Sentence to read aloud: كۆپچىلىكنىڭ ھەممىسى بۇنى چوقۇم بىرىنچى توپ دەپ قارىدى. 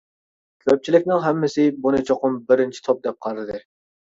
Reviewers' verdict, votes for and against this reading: accepted, 2, 0